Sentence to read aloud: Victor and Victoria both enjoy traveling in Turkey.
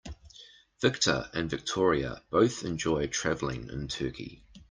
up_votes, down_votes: 2, 0